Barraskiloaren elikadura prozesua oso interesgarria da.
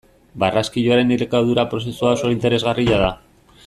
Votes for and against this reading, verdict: 2, 0, accepted